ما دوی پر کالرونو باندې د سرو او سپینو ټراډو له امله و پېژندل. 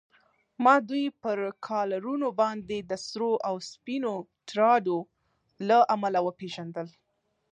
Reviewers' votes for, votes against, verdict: 2, 0, accepted